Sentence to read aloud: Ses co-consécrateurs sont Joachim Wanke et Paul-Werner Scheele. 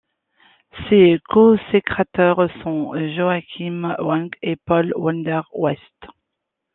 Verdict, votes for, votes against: rejected, 0, 2